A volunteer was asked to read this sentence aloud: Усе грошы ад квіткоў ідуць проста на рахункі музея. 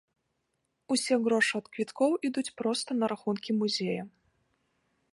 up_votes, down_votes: 1, 2